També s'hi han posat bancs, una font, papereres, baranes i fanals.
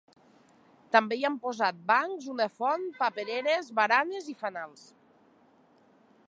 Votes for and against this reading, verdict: 0, 2, rejected